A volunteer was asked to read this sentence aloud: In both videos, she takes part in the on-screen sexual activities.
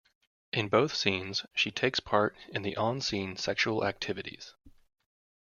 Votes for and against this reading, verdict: 0, 2, rejected